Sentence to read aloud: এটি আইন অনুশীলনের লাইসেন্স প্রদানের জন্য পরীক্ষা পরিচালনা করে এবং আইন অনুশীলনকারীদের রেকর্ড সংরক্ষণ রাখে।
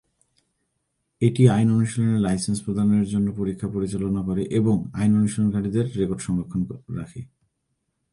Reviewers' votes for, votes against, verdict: 3, 4, rejected